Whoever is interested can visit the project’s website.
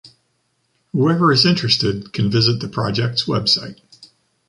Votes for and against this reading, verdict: 2, 0, accepted